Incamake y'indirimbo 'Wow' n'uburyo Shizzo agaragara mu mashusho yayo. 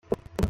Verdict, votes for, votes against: rejected, 0, 2